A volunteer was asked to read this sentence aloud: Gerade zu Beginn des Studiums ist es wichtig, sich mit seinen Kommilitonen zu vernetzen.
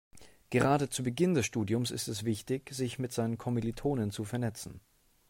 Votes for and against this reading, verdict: 2, 0, accepted